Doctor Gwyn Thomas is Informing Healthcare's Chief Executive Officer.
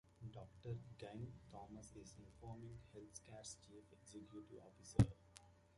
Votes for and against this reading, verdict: 0, 2, rejected